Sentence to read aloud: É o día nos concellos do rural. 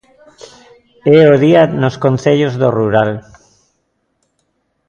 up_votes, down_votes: 2, 0